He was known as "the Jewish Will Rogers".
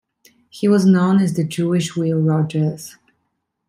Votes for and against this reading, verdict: 2, 0, accepted